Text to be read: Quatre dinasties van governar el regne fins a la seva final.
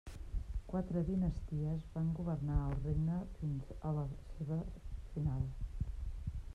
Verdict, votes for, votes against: rejected, 1, 2